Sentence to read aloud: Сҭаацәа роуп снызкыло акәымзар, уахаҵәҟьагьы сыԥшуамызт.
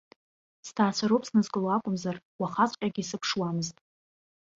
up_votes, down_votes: 2, 0